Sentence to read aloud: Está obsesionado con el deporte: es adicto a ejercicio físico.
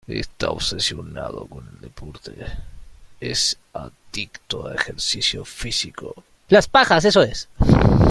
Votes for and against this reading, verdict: 0, 2, rejected